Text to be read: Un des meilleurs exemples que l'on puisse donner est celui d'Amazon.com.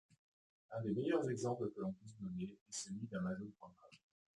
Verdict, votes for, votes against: rejected, 0, 2